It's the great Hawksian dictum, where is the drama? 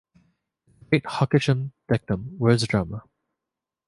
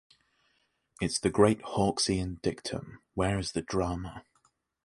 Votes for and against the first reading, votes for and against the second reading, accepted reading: 0, 2, 2, 0, second